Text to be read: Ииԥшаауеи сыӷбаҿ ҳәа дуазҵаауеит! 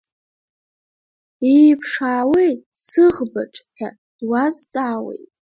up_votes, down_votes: 1, 3